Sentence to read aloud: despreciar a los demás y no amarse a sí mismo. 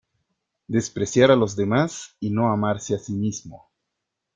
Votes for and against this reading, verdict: 2, 0, accepted